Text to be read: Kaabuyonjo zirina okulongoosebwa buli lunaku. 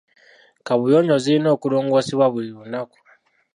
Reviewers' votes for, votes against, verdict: 0, 2, rejected